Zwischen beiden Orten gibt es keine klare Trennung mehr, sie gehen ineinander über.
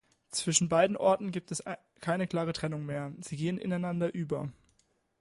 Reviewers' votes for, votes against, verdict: 0, 2, rejected